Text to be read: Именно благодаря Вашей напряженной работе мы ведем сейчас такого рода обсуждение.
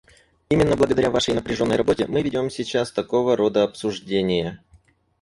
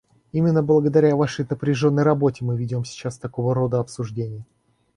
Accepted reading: second